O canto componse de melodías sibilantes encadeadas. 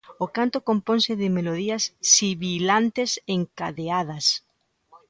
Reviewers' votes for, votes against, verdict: 2, 0, accepted